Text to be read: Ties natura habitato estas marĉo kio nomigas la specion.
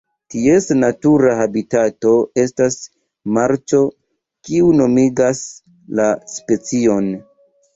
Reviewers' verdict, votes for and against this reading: accepted, 2, 0